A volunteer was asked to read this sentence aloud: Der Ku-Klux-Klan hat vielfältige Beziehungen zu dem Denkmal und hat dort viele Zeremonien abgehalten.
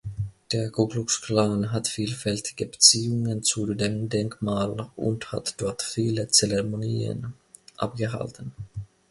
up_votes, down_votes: 2, 0